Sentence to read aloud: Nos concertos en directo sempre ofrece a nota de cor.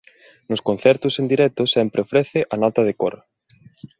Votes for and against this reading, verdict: 2, 0, accepted